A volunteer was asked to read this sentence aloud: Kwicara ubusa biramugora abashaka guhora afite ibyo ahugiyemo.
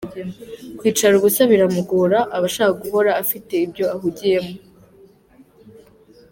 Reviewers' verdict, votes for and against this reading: accepted, 2, 0